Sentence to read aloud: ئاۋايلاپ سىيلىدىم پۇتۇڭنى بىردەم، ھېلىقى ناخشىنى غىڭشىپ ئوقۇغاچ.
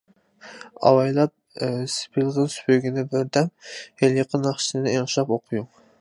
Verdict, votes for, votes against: rejected, 0, 2